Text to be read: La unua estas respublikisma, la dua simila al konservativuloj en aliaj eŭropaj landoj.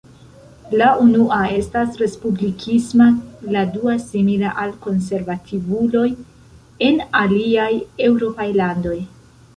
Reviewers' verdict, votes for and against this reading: rejected, 1, 2